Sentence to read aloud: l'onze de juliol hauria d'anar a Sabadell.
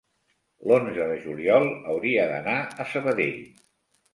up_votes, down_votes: 3, 0